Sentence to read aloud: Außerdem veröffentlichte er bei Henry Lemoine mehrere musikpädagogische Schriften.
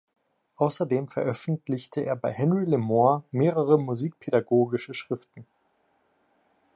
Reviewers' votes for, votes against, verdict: 1, 2, rejected